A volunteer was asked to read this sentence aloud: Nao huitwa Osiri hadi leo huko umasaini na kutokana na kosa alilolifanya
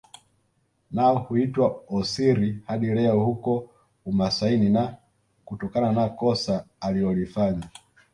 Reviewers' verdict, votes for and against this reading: accepted, 2, 0